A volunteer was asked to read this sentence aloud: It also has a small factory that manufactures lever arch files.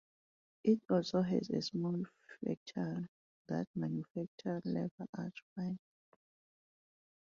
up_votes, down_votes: 0, 2